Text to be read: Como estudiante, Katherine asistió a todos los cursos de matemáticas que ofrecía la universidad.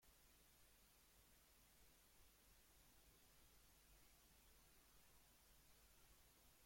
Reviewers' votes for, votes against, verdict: 0, 2, rejected